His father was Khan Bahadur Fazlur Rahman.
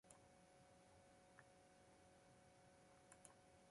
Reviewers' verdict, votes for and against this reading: rejected, 0, 2